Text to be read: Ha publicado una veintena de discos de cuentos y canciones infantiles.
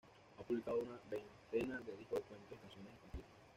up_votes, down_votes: 1, 2